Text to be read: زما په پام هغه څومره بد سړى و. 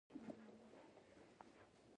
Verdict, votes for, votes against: rejected, 0, 2